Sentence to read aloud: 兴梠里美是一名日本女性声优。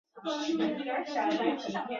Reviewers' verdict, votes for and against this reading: rejected, 0, 2